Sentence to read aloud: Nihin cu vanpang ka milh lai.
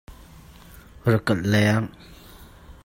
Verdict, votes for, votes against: rejected, 0, 2